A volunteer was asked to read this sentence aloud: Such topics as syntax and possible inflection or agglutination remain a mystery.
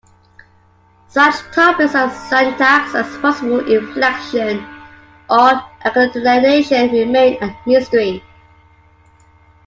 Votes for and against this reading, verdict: 0, 2, rejected